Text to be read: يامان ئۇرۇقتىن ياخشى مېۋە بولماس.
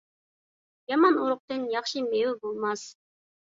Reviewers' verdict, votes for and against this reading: accepted, 2, 0